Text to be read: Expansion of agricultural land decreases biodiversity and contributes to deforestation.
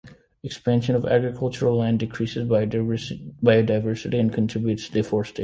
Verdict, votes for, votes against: rejected, 0, 2